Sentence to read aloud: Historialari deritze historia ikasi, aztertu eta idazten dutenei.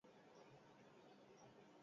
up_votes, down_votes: 0, 6